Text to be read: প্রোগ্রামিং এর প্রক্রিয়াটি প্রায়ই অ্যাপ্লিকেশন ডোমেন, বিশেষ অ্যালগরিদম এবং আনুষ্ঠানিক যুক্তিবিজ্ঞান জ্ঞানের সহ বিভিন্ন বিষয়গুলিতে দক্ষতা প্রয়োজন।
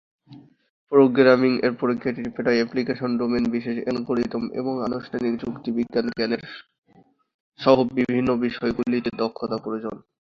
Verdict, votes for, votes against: accepted, 8, 7